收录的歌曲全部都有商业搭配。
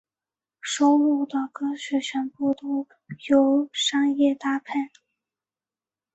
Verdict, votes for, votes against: accepted, 2, 1